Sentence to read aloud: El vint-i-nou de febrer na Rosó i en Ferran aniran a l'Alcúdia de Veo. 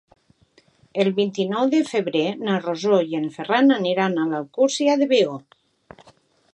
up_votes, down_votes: 2, 0